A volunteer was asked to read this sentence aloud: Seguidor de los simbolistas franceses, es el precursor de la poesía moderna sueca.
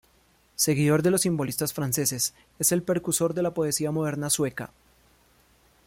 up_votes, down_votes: 1, 2